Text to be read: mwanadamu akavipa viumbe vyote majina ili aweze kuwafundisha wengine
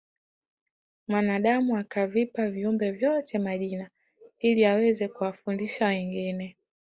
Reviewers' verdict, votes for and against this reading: accepted, 4, 0